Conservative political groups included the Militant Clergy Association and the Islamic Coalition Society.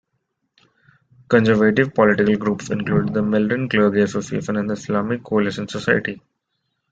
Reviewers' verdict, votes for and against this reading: rejected, 1, 2